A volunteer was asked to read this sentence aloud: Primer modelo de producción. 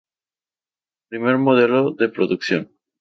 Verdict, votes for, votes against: accepted, 2, 0